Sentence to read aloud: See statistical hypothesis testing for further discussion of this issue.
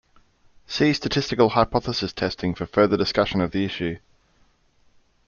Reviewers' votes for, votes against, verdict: 1, 2, rejected